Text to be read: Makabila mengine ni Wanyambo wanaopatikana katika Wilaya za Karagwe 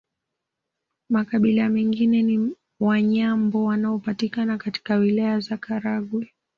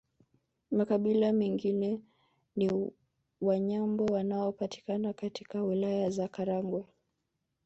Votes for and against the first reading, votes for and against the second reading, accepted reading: 2, 0, 0, 2, first